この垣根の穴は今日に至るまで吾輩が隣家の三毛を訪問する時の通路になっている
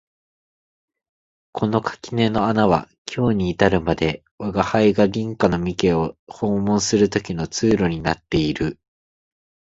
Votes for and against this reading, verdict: 2, 0, accepted